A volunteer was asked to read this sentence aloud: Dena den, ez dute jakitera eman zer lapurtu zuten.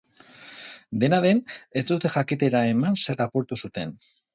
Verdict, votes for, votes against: rejected, 2, 2